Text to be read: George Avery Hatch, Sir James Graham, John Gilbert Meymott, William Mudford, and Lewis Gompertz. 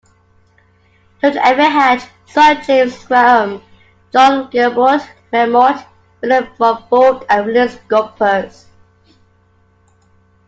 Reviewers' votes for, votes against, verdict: 1, 2, rejected